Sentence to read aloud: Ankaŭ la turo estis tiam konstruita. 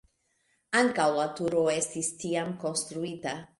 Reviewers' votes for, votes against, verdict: 2, 0, accepted